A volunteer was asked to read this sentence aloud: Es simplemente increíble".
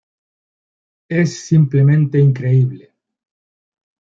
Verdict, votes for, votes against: rejected, 1, 2